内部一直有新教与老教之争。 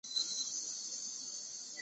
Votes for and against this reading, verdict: 0, 2, rejected